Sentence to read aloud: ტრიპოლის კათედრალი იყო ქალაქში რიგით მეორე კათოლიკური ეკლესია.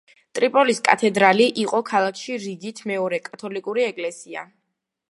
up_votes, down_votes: 2, 0